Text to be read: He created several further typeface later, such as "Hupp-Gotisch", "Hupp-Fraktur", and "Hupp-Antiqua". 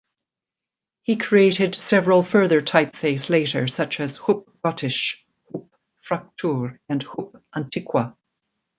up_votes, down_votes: 2, 0